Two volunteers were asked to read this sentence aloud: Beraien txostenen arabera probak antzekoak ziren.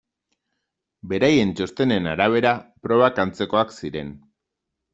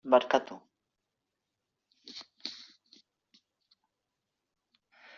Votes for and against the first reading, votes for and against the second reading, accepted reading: 2, 0, 1, 2, first